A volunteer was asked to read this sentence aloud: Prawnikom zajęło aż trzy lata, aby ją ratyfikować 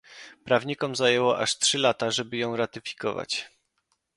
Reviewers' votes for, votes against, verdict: 0, 2, rejected